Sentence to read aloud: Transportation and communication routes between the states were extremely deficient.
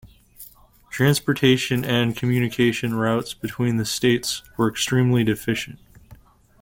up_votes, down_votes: 2, 0